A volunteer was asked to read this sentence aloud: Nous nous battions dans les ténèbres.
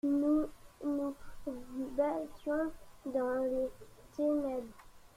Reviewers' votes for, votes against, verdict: 1, 2, rejected